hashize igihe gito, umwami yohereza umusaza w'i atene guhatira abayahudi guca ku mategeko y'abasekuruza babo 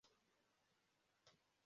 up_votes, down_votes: 0, 2